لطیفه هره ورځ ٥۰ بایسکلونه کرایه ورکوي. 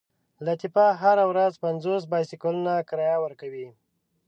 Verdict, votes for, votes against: rejected, 0, 2